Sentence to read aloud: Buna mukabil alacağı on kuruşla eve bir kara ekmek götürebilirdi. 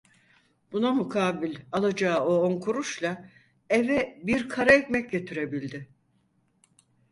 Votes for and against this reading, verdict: 2, 4, rejected